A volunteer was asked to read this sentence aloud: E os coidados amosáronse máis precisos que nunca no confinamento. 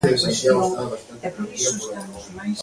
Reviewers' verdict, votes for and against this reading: rejected, 1, 2